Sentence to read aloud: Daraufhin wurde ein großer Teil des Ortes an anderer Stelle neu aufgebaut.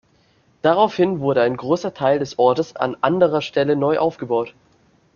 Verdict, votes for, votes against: accepted, 2, 0